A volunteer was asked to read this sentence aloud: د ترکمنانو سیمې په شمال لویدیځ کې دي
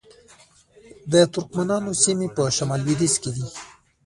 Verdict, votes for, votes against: rejected, 0, 2